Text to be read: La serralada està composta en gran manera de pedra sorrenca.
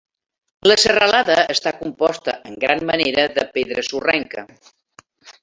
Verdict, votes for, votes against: rejected, 2, 3